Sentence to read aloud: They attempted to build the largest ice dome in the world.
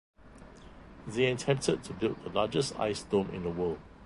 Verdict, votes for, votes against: accepted, 2, 0